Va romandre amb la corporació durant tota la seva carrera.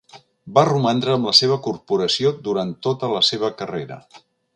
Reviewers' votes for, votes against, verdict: 1, 2, rejected